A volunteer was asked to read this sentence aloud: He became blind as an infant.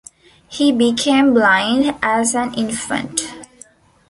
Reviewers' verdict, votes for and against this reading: accepted, 2, 0